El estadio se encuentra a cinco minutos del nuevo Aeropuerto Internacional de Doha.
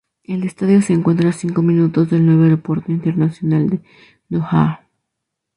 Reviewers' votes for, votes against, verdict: 2, 0, accepted